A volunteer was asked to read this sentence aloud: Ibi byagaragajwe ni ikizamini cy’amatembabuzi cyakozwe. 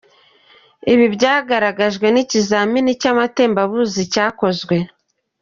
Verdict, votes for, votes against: accepted, 2, 0